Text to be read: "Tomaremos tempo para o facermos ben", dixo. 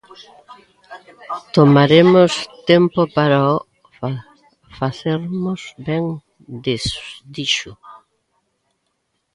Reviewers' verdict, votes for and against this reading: rejected, 0, 2